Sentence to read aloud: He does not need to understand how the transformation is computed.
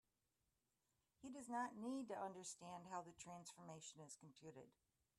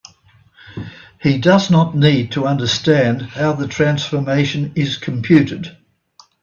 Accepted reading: second